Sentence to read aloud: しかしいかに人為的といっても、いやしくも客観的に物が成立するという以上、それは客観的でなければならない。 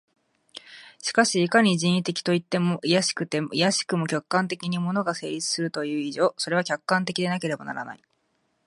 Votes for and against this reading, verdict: 1, 2, rejected